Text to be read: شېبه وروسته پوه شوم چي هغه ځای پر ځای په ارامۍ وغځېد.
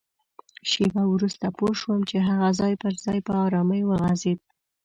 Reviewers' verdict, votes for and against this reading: accepted, 2, 0